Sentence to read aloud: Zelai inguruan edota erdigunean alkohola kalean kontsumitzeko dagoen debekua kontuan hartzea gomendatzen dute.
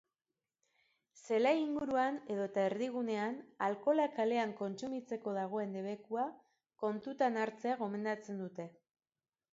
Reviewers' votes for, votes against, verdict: 0, 2, rejected